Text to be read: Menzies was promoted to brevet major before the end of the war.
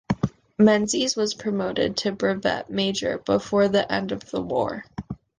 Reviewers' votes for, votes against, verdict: 2, 0, accepted